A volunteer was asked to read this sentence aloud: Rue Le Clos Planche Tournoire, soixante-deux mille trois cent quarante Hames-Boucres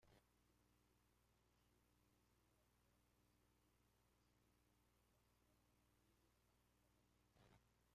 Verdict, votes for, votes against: rejected, 0, 2